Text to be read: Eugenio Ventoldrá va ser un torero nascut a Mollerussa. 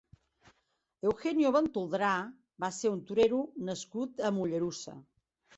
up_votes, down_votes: 2, 0